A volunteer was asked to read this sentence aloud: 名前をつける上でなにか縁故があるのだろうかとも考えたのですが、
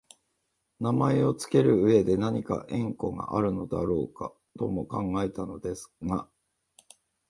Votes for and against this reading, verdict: 1, 2, rejected